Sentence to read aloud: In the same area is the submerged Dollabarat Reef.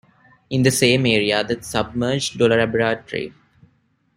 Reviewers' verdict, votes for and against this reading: rejected, 0, 2